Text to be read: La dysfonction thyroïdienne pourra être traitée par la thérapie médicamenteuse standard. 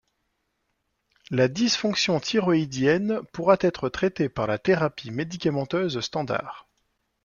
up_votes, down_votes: 1, 2